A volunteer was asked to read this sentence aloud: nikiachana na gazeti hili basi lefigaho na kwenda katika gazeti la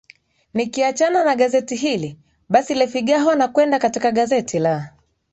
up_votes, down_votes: 1, 2